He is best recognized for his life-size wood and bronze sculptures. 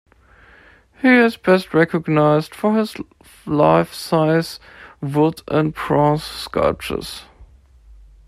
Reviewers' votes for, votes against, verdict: 1, 2, rejected